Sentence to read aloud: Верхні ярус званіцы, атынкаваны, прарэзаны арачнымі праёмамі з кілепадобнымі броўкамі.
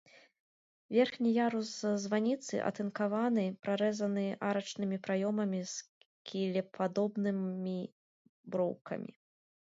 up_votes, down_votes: 3, 0